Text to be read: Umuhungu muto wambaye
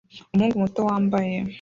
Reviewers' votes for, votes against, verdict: 0, 2, rejected